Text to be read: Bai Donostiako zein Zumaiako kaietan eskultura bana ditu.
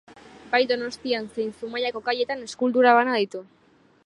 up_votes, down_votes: 0, 2